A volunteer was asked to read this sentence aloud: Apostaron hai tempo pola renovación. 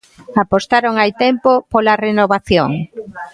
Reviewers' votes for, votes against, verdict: 0, 2, rejected